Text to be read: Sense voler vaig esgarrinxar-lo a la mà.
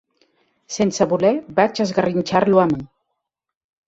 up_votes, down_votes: 0, 2